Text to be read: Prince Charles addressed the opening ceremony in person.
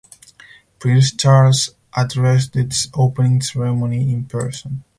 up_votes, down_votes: 2, 2